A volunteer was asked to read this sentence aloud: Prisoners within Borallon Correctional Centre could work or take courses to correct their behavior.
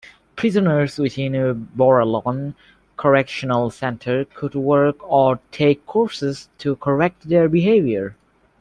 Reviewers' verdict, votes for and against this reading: accepted, 2, 0